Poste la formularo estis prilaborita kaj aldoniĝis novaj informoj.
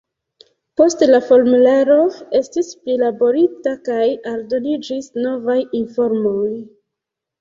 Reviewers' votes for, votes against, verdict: 2, 1, accepted